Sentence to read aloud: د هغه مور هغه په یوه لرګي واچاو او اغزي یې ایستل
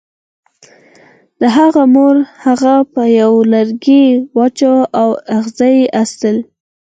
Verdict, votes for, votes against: rejected, 0, 4